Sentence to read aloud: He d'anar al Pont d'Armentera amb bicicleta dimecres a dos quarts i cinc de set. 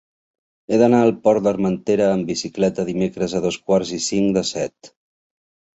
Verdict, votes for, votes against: rejected, 1, 2